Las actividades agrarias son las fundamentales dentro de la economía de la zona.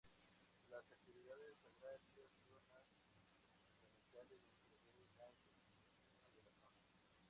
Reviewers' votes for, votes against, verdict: 0, 2, rejected